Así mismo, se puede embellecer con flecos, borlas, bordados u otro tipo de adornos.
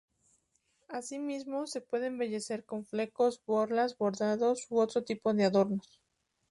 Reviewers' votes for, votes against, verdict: 4, 0, accepted